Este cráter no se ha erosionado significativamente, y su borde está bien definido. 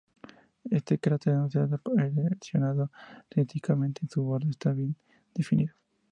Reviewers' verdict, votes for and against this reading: rejected, 0, 4